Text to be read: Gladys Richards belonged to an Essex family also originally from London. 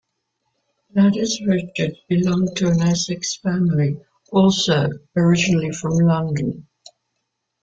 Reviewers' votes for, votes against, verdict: 3, 2, accepted